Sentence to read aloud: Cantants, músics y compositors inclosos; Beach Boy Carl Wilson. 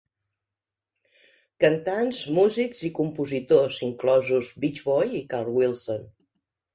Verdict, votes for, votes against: rejected, 0, 2